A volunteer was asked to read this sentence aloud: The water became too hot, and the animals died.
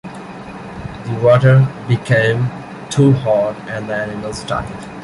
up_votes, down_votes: 2, 0